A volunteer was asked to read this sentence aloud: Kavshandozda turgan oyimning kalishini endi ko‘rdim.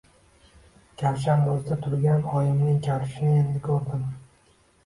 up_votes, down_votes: 2, 0